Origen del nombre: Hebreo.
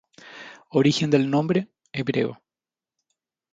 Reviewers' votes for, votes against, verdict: 4, 0, accepted